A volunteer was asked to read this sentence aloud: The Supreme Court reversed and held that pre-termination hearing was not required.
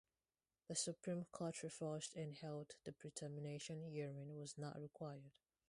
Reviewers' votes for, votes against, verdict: 2, 2, rejected